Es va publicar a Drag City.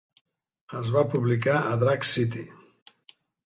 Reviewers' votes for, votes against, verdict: 2, 1, accepted